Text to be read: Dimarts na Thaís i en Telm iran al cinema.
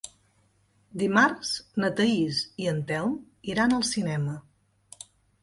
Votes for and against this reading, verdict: 3, 0, accepted